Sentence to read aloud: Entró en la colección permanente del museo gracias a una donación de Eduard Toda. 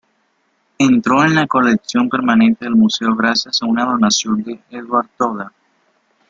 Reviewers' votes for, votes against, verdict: 2, 1, accepted